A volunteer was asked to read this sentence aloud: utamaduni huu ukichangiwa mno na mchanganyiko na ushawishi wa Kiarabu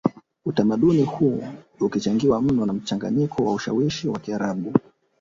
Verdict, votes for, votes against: accepted, 2, 1